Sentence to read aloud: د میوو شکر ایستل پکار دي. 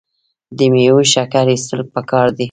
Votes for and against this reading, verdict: 1, 2, rejected